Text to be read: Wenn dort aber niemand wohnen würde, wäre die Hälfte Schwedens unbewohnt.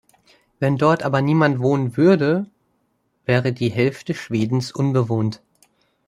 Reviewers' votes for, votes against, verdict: 2, 0, accepted